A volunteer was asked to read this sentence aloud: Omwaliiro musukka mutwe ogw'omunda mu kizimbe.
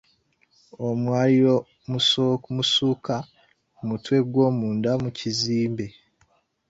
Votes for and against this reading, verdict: 0, 2, rejected